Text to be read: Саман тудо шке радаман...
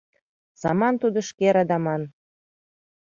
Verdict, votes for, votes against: accepted, 2, 0